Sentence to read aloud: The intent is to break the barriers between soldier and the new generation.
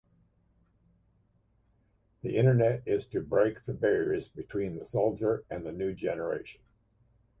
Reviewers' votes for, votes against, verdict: 0, 3, rejected